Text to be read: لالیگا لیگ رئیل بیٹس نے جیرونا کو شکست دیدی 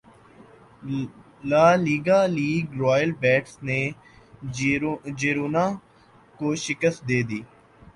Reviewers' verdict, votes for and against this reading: rejected, 1, 2